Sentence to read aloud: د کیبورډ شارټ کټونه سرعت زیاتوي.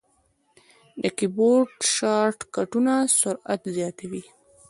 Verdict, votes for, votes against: rejected, 1, 2